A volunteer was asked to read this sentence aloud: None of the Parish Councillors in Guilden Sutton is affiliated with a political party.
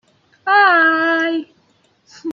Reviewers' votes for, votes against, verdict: 0, 2, rejected